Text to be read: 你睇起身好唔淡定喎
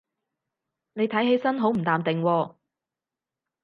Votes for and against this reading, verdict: 4, 0, accepted